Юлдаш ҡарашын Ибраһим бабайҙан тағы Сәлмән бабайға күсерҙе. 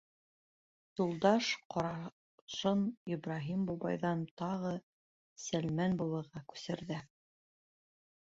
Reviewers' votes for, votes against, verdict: 1, 2, rejected